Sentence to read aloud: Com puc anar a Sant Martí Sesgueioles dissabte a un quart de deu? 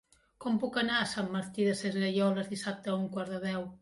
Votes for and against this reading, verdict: 1, 2, rejected